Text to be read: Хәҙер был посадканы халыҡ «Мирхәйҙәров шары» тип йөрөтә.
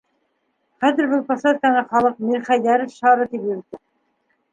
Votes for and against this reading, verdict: 1, 2, rejected